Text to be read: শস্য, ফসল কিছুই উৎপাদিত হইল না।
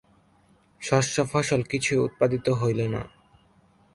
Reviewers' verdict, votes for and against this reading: accepted, 4, 0